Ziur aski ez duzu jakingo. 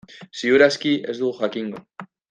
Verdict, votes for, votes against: rejected, 1, 2